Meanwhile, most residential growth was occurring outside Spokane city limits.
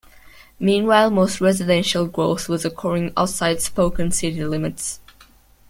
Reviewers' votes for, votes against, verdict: 1, 2, rejected